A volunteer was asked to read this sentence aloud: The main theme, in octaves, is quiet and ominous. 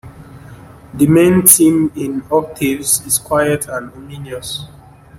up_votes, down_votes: 2, 1